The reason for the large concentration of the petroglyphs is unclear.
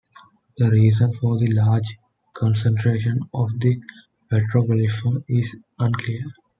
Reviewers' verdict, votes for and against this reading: accepted, 2, 1